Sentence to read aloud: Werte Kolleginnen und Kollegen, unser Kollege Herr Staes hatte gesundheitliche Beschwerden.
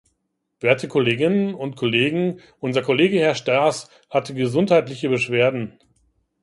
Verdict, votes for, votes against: rejected, 0, 2